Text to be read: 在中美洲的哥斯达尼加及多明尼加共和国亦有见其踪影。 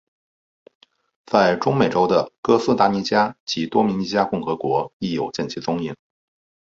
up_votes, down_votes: 4, 0